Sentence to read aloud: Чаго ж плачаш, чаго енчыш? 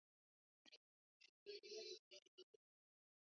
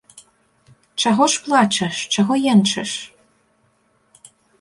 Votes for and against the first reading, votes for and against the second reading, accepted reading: 0, 3, 2, 0, second